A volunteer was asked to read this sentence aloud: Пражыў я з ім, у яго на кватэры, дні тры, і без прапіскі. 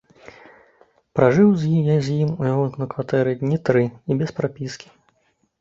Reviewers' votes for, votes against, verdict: 0, 2, rejected